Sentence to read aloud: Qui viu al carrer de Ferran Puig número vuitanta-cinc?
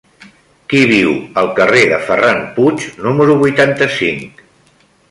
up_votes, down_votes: 3, 0